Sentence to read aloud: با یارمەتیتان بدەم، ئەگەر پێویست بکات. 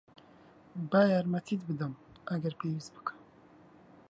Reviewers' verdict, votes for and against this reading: rejected, 1, 2